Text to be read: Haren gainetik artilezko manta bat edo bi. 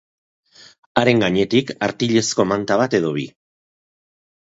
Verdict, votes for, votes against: accepted, 8, 0